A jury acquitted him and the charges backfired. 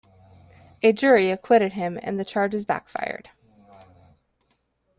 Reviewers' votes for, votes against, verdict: 1, 2, rejected